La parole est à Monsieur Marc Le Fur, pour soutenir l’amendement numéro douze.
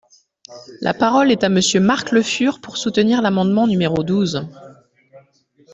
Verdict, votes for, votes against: accepted, 2, 0